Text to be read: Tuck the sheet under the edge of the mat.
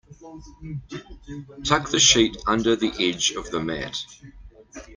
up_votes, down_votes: 0, 2